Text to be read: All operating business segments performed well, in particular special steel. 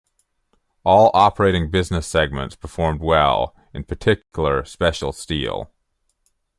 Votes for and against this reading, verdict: 2, 0, accepted